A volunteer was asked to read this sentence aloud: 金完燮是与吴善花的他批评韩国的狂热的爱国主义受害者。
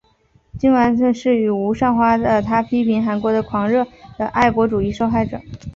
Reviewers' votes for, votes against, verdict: 2, 0, accepted